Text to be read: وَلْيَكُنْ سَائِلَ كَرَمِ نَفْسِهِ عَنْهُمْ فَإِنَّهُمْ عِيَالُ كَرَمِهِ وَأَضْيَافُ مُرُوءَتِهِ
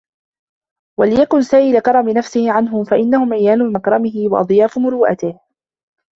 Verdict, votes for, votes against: rejected, 0, 2